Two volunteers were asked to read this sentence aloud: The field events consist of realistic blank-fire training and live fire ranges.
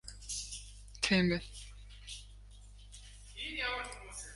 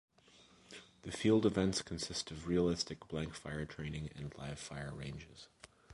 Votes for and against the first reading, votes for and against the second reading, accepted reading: 0, 2, 2, 0, second